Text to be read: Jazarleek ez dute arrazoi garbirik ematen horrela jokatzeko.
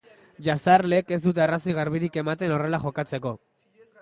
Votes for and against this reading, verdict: 2, 0, accepted